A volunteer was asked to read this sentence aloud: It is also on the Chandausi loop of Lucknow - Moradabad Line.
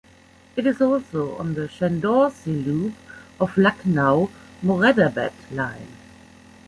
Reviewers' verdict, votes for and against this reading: rejected, 0, 2